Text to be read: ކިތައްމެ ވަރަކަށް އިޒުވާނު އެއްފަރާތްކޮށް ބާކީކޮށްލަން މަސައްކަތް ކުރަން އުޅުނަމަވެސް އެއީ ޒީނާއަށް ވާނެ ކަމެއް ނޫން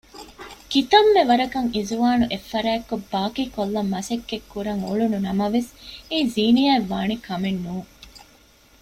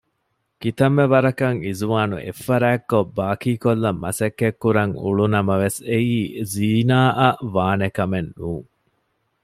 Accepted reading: second